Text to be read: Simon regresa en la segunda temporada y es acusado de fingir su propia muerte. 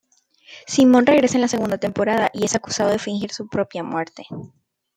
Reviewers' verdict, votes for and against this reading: accepted, 2, 0